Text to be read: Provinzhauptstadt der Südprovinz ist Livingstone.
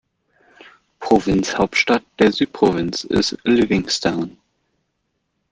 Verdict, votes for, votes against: accepted, 2, 0